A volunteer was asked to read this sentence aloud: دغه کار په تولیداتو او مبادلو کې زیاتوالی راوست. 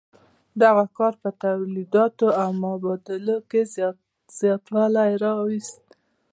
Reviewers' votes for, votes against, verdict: 2, 0, accepted